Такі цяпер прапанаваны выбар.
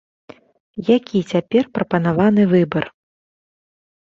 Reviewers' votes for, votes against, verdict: 0, 2, rejected